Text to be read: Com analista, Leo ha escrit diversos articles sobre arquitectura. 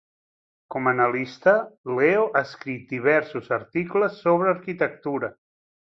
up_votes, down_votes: 2, 0